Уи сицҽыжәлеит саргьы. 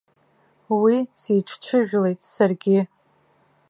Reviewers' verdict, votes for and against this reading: rejected, 0, 2